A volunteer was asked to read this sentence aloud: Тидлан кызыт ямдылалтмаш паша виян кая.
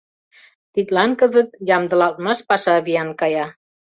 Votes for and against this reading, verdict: 2, 0, accepted